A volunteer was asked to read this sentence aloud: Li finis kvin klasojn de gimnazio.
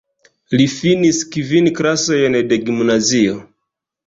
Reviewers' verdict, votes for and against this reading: rejected, 1, 2